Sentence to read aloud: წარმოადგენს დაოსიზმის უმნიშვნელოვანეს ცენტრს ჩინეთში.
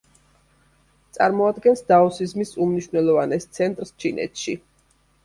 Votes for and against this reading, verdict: 2, 0, accepted